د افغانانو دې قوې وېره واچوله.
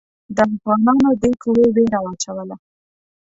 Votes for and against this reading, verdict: 0, 2, rejected